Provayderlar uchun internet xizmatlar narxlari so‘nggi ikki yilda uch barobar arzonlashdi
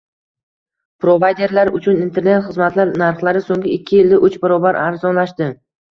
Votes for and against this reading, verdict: 2, 0, accepted